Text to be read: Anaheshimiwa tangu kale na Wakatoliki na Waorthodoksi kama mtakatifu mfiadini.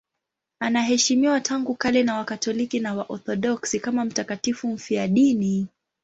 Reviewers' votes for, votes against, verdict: 2, 0, accepted